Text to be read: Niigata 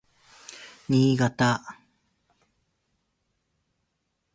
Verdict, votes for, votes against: rejected, 1, 2